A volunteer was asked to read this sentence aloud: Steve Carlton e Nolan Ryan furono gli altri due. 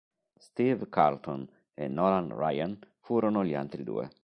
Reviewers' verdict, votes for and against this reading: accepted, 2, 0